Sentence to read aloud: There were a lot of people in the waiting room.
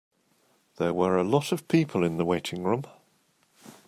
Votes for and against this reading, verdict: 2, 0, accepted